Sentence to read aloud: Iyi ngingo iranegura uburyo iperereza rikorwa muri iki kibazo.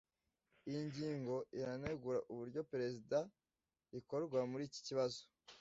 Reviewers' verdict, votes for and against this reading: rejected, 1, 2